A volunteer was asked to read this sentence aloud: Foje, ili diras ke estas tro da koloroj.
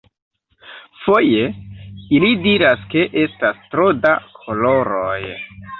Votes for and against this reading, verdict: 1, 2, rejected